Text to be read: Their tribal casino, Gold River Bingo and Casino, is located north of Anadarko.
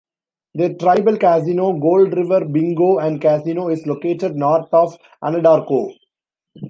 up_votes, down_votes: 1, 2